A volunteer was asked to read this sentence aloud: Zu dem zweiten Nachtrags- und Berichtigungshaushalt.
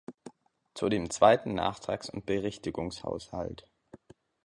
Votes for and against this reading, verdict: 2, 0, accepted